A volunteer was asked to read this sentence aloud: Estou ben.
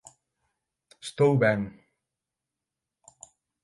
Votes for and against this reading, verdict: 6, 0, accepted